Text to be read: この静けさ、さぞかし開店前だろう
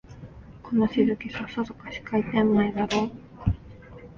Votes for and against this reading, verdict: 0, 2, rejected